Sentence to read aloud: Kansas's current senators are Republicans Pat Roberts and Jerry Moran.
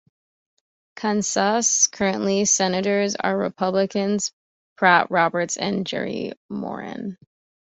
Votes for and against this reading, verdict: 0, 2, rejected